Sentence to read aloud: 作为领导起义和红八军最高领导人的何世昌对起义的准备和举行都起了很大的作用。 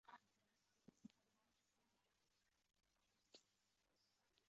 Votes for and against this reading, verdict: 3, 5, rejected